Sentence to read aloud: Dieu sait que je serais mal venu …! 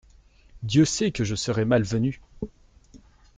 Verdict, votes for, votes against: accepted, 2, 0